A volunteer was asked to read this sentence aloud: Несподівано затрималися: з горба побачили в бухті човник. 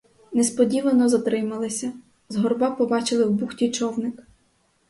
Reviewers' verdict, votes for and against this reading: accepted, 4, 0